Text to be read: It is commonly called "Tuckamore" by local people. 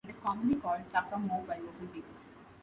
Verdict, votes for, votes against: rejected, 0, 2